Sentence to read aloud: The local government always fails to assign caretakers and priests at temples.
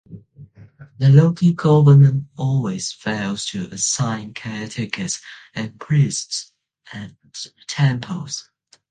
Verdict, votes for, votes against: accepted, 2, 0